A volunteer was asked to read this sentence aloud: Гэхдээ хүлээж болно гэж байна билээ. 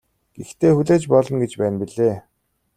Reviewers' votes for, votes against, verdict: 2, 0, accepted